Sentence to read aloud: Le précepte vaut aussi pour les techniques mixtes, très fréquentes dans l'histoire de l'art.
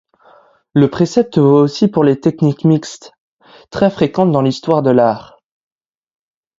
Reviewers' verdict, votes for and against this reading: accepted, 2, 0